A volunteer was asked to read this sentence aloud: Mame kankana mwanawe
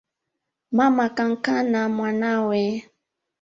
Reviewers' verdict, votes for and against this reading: accepted, 2, 0